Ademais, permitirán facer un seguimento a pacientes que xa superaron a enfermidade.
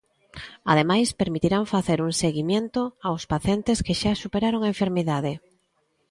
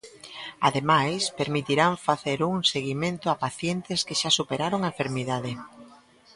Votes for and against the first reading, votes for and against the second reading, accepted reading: 0, 2, 2, 0, second